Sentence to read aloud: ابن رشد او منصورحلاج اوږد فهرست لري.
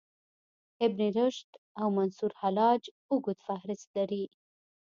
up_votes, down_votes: 2, 0